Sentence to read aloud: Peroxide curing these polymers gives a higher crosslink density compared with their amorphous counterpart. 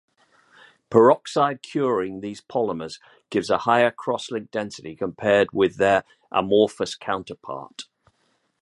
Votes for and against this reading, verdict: 2, 0, accepted